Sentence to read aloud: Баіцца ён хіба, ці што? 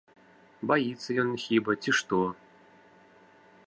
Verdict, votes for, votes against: accepted, 2, 0